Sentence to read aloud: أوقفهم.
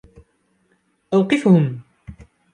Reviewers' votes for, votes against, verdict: 2, 0, accepted